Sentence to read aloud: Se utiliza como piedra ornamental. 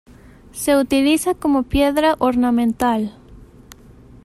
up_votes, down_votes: 2, 0